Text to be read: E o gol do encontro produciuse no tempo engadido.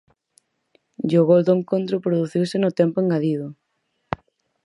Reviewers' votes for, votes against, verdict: 4, 0, accepted